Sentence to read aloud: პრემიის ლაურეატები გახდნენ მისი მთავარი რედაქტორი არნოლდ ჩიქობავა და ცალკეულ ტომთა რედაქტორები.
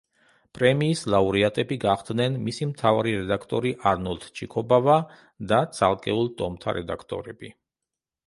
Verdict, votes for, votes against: accepted, 2, 0